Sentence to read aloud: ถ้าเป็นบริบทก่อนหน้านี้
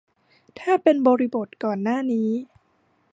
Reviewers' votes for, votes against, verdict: 2, 0, accepted